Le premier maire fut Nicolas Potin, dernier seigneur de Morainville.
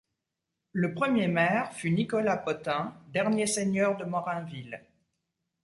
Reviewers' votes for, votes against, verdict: 2, 0, accepted